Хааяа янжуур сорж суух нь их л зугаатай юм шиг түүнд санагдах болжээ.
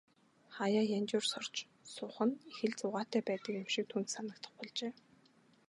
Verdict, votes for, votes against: accepted, 3, 1